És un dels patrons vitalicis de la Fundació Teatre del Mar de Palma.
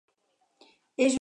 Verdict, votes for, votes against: rejected, 0, 4